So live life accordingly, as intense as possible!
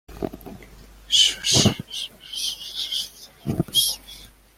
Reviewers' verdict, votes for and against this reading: rejected, 0, 2